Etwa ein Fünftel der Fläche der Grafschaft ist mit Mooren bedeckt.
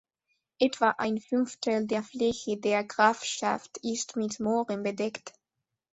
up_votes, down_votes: 2, 0